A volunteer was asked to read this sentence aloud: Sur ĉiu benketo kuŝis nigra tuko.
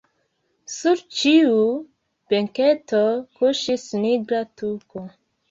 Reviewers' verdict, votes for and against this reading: accepted, 2, 1